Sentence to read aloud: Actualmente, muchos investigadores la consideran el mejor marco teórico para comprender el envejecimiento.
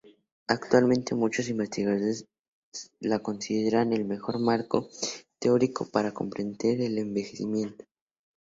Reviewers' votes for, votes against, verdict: 0, 2, rejected